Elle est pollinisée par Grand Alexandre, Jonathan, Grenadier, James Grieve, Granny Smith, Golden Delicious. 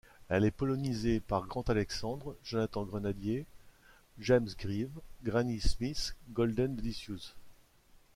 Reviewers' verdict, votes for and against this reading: rejected, 0, 2